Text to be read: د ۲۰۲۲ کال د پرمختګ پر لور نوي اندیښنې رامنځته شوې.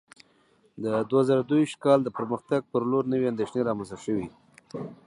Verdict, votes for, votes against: rejected, 0, 2